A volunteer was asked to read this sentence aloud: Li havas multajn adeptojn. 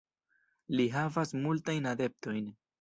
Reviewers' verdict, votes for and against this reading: accepted, 2, 0